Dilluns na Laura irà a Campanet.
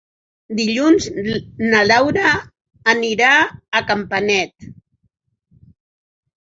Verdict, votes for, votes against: rejected, 0, 4